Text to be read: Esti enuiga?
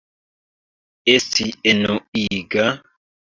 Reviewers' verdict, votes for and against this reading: accepted, 2, 0